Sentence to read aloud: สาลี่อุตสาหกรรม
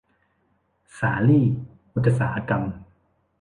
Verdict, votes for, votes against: rejected, 1, 2